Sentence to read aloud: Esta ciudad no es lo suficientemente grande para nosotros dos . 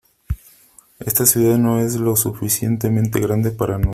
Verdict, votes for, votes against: rejected, 0, 3